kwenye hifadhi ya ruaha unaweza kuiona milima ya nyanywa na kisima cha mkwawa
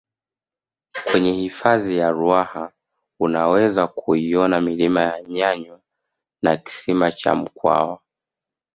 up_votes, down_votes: 5, 0